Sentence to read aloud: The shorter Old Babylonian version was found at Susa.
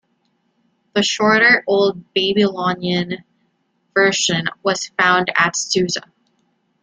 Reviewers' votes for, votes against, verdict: 1, 2, rejected